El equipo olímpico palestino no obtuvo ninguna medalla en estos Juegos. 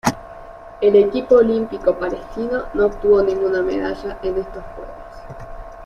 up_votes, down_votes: 2, 0